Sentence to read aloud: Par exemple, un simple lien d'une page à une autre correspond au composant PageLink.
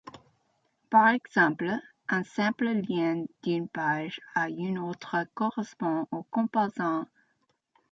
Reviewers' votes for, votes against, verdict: 0, 2, rejected